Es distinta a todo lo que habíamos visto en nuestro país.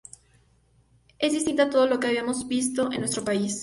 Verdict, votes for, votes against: accepted, 2, 0